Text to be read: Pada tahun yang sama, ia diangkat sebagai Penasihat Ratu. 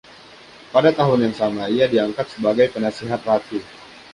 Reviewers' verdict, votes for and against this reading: rejected, 1, 2